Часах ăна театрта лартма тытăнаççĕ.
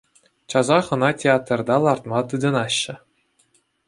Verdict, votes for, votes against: accepted, 2, 0